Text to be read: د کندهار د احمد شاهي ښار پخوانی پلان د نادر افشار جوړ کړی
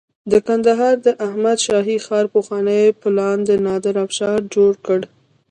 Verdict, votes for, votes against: rejected, 0, 2